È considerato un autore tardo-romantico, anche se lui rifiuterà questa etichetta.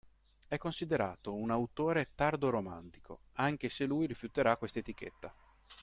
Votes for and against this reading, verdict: 2, 0, accepted